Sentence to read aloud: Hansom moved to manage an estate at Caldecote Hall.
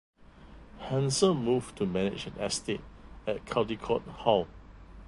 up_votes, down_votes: 0, 2